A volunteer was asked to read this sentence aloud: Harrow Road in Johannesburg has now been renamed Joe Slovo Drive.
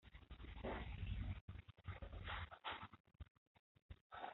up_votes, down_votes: 0, 2